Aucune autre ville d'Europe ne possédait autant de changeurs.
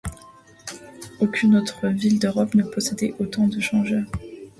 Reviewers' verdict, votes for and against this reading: accepted, 2, 0